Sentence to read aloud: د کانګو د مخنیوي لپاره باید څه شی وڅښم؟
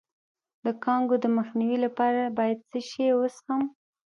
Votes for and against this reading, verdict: 2, 0, accepted